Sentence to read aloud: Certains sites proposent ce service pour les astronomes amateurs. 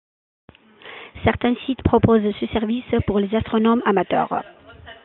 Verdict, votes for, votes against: accepted, 2, 1